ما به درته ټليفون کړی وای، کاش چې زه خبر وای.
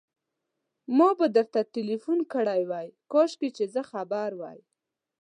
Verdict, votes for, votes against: rejected, 1, 2